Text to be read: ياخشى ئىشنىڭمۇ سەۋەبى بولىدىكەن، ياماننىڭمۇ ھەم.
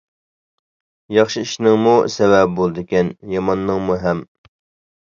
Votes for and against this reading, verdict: 2, 0, accepted